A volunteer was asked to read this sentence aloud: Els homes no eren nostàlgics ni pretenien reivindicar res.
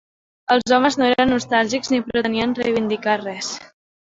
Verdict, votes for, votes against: accepted, 3, 1